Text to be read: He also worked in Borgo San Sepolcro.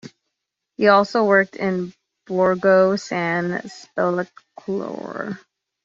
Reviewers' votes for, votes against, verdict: 0, 2, rejected